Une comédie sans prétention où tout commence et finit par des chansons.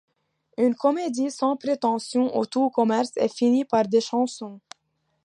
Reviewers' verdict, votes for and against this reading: accepted, 2, 0